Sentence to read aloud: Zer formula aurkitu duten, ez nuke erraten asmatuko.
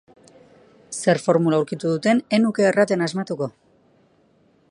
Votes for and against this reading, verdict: 2, 1, accepted